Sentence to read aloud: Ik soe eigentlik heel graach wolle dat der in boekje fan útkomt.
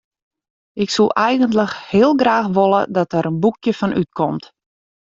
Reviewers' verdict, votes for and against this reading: rejected, 0, 2